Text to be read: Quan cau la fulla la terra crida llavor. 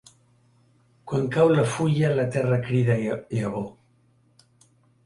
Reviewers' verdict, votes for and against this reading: rejected, 0, 2